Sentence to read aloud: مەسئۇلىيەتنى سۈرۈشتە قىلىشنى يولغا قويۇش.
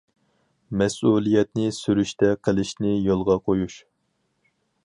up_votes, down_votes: 4, 0